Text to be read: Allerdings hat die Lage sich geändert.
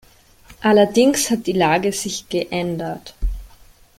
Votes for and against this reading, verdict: 2, 0, accepted